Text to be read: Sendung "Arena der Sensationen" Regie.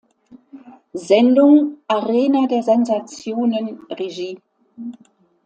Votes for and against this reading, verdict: 2, 0, accepted